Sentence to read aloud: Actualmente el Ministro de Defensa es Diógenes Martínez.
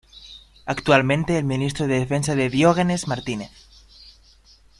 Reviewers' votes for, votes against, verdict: 1, 2, rejected